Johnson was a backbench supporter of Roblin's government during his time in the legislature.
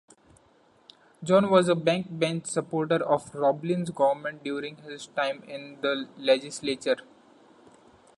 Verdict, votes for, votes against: rejected, 0, 2